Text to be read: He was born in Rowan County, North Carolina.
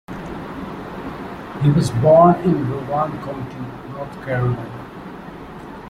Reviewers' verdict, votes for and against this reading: rejected, 0, 2